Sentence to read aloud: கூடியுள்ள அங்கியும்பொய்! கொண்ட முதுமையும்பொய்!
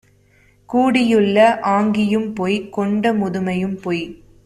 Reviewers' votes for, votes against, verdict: 0, 2, rejected